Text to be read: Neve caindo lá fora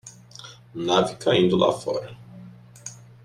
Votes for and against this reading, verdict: 0, 2, rejected